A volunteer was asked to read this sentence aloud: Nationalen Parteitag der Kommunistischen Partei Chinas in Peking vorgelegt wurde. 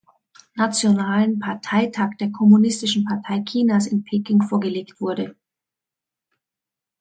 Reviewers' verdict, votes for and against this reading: accepted, 2, 0